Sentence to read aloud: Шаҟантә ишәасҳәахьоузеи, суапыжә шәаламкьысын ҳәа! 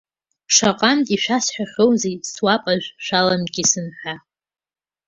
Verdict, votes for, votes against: accepted, 2, 0